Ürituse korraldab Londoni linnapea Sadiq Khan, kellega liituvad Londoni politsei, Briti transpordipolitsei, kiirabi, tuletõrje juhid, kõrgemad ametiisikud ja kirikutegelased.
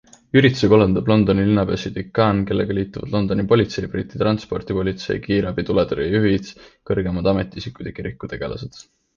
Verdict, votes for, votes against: accepted, 2, 1